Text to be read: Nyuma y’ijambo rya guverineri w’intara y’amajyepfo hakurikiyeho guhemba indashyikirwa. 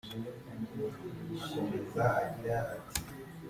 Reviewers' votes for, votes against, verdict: 0, 2, rejected